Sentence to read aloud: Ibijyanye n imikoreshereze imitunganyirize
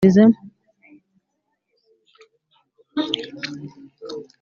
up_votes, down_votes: 1, 2